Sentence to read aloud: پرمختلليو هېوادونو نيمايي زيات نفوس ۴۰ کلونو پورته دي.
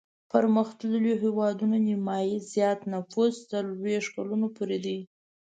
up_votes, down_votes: 0, 2